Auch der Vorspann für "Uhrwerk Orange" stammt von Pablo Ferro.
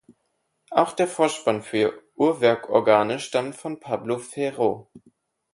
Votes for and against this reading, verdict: 0, 4, rejected